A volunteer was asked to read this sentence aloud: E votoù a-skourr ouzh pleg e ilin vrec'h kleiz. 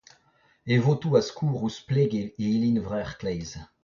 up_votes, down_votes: 0, 2